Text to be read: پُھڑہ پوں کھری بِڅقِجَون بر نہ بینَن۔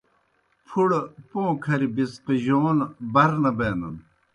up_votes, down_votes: 2, 0